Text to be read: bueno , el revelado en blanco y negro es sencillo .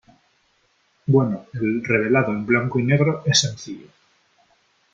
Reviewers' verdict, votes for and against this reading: accepted, 4, 0